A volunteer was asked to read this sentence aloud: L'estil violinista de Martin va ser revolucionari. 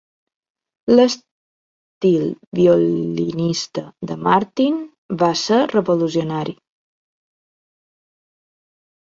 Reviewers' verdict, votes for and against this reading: rejected, 2, 3